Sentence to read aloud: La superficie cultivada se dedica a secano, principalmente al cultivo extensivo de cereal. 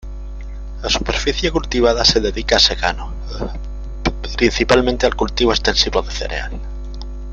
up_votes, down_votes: 2, 0